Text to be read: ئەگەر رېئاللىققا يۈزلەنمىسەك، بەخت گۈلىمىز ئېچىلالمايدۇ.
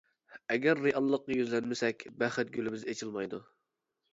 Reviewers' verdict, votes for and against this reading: rejected, 1, 2